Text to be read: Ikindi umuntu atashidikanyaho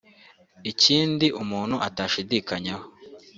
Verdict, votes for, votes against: accepted, 2, 0